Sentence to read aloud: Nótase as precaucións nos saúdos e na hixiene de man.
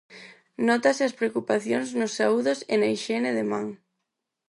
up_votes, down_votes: 2, 4